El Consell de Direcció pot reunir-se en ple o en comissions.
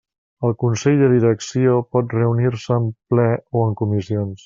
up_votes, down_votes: 3, 1